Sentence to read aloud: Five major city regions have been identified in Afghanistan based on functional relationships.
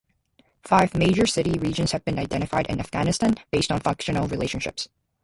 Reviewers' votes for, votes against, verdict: 2, 0, accepted